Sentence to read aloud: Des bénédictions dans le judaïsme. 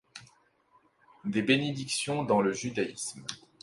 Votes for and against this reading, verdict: 2, 0, accepted